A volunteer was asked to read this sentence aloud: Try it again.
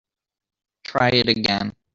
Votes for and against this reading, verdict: 2, 0, accepted